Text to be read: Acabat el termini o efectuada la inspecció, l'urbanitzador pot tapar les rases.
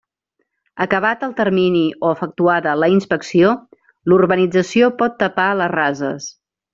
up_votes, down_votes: 1, 2